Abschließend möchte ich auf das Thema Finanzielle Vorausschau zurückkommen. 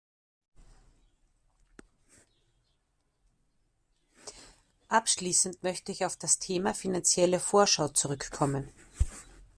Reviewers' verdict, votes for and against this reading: rejected, 0, 2